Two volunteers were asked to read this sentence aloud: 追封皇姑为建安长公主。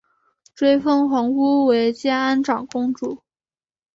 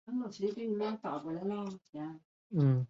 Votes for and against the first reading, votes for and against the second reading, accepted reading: 4, 0, 0, 3, first